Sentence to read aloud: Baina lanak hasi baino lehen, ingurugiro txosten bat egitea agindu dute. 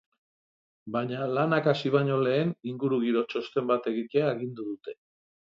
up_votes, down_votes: 3, 0